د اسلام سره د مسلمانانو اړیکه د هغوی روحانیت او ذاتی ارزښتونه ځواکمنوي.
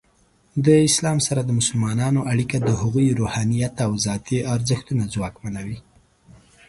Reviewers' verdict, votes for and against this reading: accepted, 2, 0